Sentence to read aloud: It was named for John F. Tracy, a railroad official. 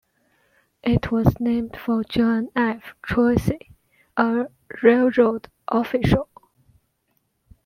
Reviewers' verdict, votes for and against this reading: accepted, 2, 0